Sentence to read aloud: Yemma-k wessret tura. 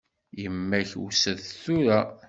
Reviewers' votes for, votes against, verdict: 1, 2, rejected